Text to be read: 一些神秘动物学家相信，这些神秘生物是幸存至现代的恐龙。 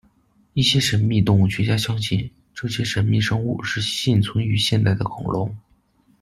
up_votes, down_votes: 0, 3